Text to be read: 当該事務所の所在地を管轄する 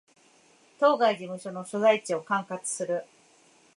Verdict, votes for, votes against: accepted, 2, 0